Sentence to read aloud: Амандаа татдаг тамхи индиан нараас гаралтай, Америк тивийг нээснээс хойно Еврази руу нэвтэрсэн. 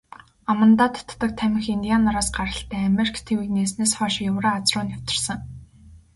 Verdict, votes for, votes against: accepted, 2, 0